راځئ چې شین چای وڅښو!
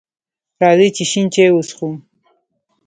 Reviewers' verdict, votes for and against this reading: rejected, 1, 2